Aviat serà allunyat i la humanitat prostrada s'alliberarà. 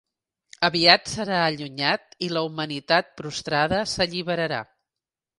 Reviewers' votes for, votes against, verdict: 3, 0, accepted